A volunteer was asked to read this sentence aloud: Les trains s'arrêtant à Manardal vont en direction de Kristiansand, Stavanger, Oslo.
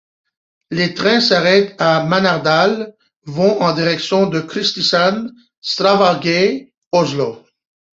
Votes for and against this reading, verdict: 1, 2, rejected